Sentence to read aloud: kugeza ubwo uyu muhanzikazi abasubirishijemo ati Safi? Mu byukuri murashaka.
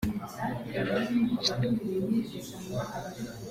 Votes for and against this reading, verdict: 0, 2, rejected